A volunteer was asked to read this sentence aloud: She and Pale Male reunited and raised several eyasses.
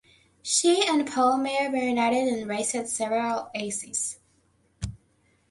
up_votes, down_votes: 1, 2